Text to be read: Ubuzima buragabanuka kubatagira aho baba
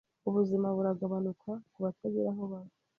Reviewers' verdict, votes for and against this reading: accepted, 2, 0